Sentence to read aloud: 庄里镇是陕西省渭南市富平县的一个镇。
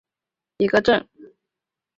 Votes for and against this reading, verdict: 2, 6, rejected